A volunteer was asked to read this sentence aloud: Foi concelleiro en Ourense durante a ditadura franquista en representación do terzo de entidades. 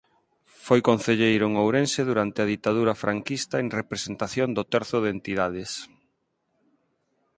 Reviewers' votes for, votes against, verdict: 4, 0, accepted